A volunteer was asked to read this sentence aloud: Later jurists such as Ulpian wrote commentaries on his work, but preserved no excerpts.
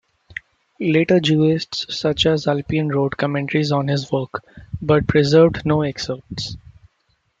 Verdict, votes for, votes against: rejected, 1, 2